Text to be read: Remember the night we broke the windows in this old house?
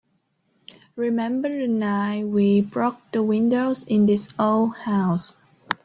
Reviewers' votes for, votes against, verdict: 3, 0, accepted